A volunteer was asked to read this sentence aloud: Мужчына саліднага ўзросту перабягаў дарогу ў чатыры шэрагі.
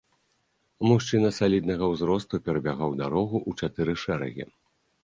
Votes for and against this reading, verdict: 2, 0, accepted